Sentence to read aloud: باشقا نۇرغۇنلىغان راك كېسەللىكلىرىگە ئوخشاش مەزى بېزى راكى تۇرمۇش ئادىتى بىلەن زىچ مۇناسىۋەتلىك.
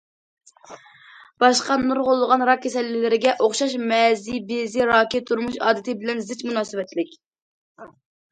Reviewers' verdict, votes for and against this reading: rejected, 0, 2